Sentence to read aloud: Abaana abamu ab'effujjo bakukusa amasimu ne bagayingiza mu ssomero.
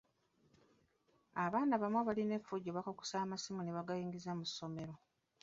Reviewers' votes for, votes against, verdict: 0, 2, rejected